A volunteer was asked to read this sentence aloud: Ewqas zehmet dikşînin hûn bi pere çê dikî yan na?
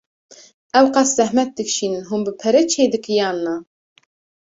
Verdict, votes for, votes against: accepted, 2, 0